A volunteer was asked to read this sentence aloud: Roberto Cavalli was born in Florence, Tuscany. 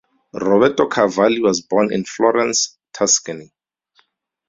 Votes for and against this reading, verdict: 4, 0, accepted